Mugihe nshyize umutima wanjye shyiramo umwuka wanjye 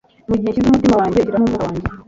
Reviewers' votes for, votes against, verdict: 2, 1, accepted